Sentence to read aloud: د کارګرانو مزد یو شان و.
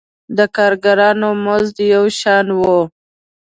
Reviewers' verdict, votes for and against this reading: accepted, 2, 0